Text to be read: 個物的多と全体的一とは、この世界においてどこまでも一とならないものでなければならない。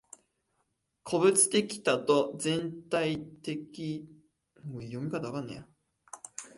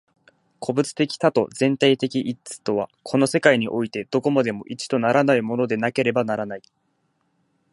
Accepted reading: second